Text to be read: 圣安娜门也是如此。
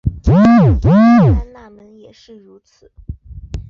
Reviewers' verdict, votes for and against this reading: rejected, 0, 8